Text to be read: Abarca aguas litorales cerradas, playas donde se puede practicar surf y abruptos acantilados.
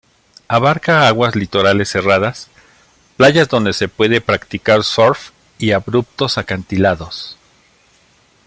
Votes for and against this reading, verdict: 2, 0, accepted